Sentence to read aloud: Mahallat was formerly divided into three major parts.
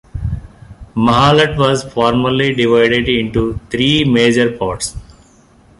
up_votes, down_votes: 2, 0